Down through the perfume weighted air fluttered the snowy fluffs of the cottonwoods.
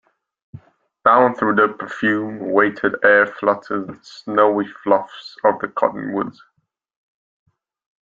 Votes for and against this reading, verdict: 2, 0, accepted